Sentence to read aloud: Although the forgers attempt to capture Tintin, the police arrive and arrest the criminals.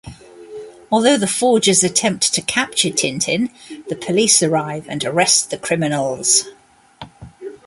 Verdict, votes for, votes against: accepted, 2, 0